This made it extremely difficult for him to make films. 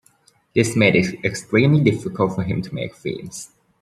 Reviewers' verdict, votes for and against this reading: rejected, 1, 2